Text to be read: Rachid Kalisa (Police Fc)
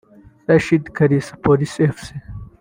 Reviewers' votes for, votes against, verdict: 1, 2, rejected